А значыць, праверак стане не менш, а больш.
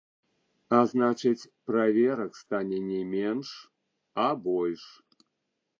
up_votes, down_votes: 0, 2